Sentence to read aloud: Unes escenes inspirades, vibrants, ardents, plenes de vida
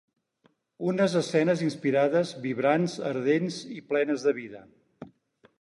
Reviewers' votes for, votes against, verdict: 2, 4, rejected